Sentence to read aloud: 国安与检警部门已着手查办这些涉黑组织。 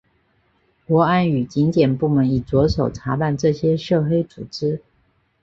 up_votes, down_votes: 5, 0